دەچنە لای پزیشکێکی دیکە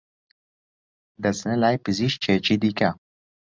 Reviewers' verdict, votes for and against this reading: accepted, 2, 0